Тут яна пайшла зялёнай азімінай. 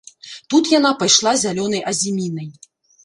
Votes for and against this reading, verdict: 1, 2, rejected